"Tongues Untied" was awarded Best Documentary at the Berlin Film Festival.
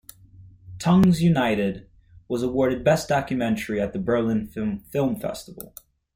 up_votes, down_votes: 1, 2